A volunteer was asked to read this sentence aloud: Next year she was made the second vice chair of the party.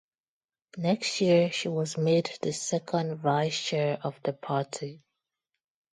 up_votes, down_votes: 2, 0